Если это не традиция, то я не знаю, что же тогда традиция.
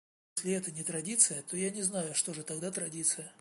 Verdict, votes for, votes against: rejected, 1, 2